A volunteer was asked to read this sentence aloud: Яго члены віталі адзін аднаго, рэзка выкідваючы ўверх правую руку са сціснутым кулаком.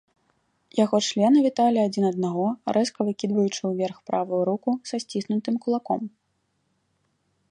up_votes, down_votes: 0, 2